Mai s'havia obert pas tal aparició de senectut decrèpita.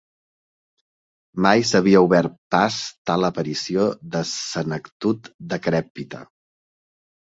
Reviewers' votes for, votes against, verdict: 1, 2, rejected